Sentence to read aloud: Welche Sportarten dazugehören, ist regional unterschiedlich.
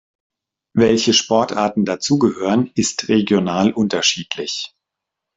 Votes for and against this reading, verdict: 2, 0, accepted